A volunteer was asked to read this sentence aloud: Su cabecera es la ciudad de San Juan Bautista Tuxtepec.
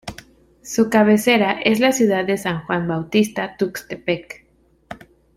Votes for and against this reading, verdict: 2, 0, accepted